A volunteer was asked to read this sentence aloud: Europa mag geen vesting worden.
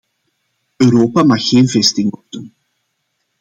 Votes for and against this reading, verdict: 0, 2, rejected